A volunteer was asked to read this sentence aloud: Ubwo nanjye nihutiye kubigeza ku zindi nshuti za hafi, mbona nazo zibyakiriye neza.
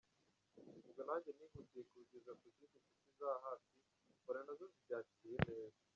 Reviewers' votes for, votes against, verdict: 1, 2, rejected